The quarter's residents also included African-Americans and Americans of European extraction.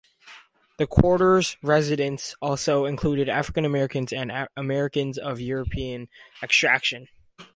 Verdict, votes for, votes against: rejected, 0, 2